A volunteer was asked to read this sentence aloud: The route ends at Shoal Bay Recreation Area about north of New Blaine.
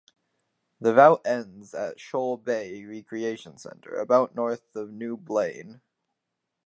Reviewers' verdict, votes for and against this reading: rejected, 0, 4